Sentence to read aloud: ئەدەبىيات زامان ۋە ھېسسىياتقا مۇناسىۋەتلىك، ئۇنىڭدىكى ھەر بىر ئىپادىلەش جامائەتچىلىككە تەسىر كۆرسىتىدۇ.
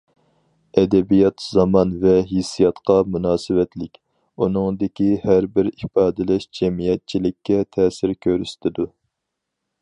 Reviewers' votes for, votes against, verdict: 0, 4, rejected